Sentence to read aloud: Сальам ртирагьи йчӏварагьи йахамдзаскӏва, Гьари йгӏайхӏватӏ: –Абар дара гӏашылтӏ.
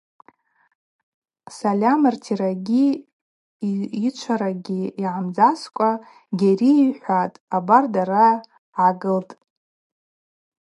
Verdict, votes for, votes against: rejected, 0, 2